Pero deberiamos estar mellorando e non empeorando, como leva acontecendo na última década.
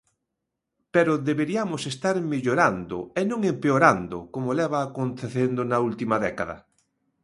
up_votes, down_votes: 2, 0